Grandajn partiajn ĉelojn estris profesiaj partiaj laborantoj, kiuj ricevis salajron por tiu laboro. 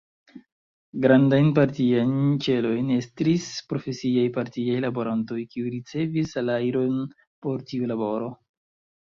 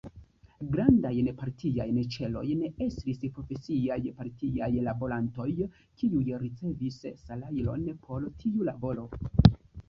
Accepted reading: first